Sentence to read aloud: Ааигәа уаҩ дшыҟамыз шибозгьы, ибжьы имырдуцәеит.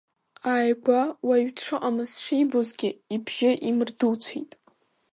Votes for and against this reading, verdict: 2, 0, accepted